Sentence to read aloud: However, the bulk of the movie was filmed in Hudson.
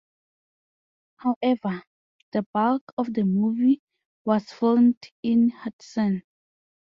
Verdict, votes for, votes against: accepted, 2, 0